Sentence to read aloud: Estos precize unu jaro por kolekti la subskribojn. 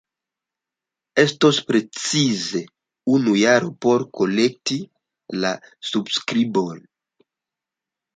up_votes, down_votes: 1, 2